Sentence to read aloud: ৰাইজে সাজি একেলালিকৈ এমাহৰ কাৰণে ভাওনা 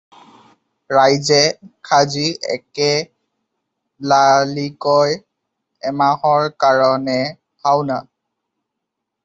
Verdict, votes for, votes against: rejected, 0, 2